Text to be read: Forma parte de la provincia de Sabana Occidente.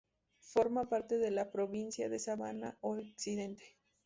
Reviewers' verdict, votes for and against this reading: rejected, 0, 2